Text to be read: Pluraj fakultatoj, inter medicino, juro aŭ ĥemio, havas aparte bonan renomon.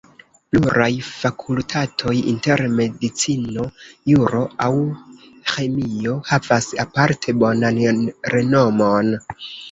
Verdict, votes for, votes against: rejected, 1, 2